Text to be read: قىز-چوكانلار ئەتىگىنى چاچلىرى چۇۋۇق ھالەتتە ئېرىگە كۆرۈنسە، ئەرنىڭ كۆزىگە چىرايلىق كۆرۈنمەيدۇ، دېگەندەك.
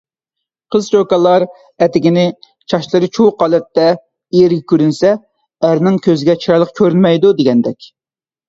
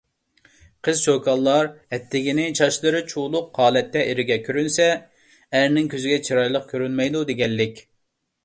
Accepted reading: first